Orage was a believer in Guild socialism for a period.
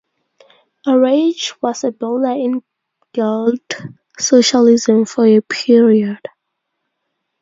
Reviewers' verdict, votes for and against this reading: rejected, 0, 2